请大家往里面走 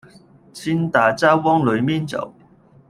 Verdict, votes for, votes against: rejected, 0, 2